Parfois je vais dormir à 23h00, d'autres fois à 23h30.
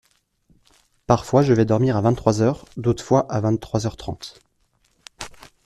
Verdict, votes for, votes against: rejected, 0, 2